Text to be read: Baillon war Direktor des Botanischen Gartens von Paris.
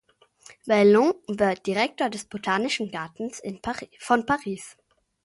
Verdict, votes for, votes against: rejected, 0, 2